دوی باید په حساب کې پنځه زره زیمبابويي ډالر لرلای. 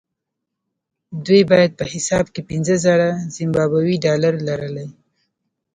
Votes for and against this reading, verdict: 2, 0, accepted